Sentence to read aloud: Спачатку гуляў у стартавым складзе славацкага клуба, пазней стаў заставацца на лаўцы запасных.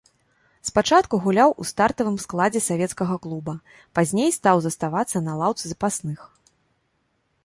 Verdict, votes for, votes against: rejected, 1, 2